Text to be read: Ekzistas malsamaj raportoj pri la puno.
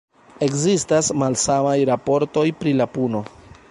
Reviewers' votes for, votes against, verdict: 1, 2, rejected